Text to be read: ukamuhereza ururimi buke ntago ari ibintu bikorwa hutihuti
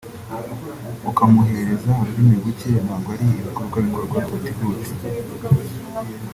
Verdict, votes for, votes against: rejected, 0, 2